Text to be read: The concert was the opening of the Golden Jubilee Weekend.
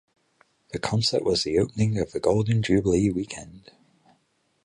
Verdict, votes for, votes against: accepted, 8, 0